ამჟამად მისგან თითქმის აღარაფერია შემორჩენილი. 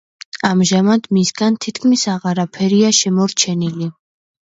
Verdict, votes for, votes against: accepted, 2, 0